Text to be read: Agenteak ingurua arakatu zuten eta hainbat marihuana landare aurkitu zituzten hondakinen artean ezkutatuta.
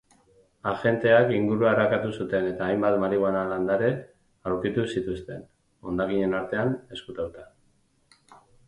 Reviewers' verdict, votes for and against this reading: rejected, 2, 2